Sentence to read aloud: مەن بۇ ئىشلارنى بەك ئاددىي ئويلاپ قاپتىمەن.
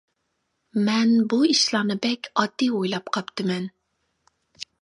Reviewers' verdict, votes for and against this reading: accepted, 2, 0